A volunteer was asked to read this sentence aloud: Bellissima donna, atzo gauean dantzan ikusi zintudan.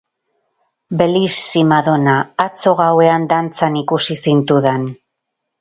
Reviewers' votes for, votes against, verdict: 4, 0, accepted